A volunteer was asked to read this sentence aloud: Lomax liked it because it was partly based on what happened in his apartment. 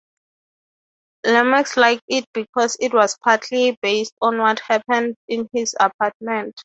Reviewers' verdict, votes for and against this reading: accepted, 3, 0